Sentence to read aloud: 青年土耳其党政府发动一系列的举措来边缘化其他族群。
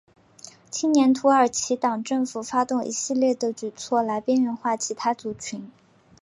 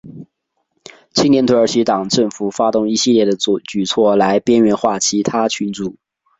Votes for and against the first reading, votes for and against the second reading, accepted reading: 8, 0, 1, 2, first